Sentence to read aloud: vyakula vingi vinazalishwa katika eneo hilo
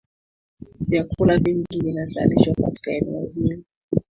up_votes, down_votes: 3, 1